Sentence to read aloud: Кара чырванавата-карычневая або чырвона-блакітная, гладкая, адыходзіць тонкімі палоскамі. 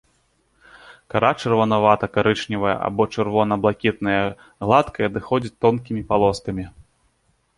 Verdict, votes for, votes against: accepted, 2, 0